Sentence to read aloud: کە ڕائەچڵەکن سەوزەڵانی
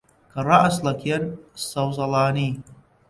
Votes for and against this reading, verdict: 0, 2, rejected